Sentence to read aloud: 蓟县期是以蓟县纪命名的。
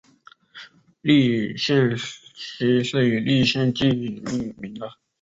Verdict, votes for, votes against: rejected, 0, 2